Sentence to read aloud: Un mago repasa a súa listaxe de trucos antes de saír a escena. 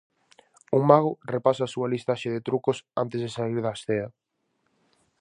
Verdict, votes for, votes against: rejected, 0, 4